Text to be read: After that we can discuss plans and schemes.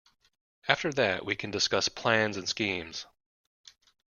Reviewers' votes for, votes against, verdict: 2, 0, accepted